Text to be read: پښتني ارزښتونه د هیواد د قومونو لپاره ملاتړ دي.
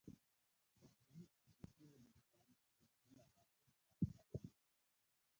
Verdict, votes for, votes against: rejected, 0, 2